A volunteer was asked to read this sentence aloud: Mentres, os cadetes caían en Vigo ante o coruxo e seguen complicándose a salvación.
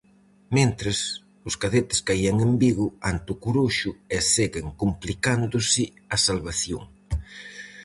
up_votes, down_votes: 4, 0